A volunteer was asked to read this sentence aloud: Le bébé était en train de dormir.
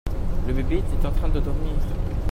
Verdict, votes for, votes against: accepted, 2, 1